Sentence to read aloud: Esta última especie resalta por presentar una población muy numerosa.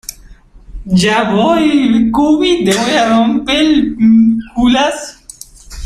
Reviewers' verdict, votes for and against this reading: rejected, 0, 2